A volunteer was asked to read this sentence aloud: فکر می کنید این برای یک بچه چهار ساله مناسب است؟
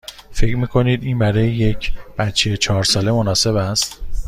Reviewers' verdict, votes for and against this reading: accepted, 2, 0